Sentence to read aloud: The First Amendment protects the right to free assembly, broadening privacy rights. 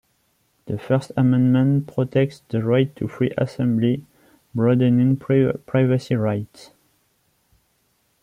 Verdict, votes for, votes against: accepted, 2, 1